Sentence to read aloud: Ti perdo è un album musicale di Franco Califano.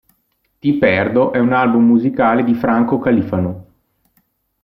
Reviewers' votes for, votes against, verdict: 0, 2, rejected